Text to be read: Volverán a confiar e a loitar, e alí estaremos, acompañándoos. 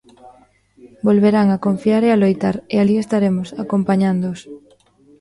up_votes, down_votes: 1, 2